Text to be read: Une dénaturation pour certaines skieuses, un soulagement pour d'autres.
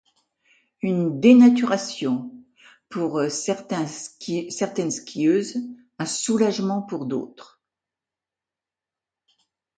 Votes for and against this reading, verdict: 0, 2, rejected